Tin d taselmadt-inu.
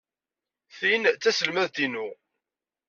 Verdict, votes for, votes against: accepted, 2, 0